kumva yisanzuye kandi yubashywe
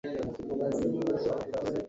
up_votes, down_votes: 1, 2